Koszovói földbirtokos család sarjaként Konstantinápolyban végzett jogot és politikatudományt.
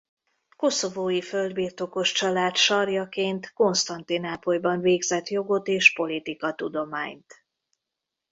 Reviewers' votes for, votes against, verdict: 2, 3, rejected